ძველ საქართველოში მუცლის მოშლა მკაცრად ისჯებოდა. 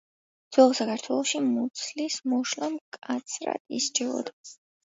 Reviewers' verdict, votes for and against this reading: accepted, 2, 0